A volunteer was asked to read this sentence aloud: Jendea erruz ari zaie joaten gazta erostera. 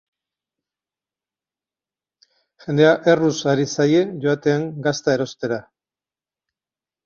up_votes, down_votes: 8, 0